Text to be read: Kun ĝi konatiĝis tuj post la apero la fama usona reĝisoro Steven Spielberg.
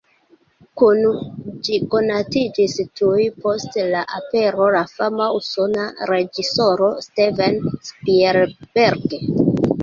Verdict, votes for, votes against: rejected, 1, 2